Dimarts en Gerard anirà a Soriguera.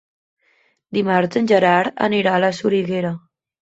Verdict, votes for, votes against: rejected, 0, 2